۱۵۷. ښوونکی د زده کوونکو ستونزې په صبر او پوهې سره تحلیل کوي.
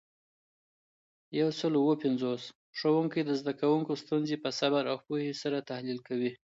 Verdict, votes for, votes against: rejected, 0, 2